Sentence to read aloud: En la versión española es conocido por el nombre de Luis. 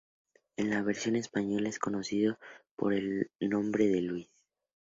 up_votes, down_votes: 2, 0